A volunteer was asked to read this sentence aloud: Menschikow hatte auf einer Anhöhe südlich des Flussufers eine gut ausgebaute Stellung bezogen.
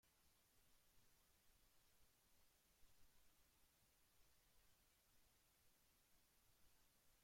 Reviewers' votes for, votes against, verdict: 0, 2, rejected